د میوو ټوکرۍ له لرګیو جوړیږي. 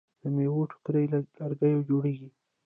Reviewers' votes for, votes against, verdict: 0, 2, rejected